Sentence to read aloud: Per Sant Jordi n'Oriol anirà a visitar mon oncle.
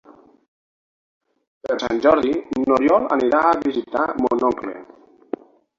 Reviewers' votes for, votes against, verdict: 3, 6, rejected